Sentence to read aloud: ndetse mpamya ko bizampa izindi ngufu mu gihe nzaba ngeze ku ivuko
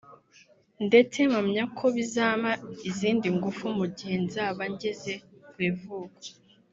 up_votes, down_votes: 0, 2